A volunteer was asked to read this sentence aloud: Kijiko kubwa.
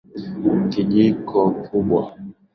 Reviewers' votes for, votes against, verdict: 1, 2, rejected